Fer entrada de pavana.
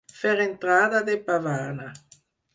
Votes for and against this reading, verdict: 4, 0, accepted